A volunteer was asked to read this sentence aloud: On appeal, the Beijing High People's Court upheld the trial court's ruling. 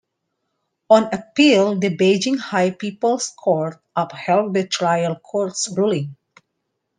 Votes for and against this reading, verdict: 2, 0, accepted